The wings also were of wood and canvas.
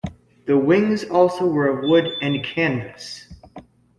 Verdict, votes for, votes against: accepted, 2, 1